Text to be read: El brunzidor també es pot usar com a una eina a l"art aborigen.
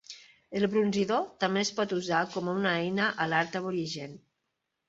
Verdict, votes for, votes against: accepted, 2, 1